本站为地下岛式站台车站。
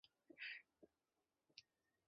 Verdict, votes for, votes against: rejected, 0, 2